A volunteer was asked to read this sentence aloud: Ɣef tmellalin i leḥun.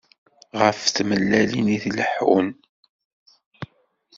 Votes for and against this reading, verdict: 1, 2, rejected